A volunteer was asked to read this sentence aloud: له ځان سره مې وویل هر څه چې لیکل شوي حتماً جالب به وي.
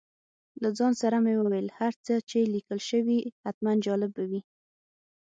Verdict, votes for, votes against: accepted, 6, 0